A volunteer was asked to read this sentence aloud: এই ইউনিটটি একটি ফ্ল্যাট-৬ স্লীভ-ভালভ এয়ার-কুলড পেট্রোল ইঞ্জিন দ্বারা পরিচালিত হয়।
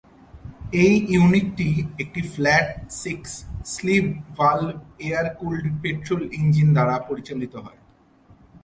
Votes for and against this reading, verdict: 0, 2, rejected